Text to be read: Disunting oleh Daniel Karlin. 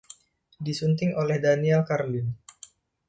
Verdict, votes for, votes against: rejected, 1, 2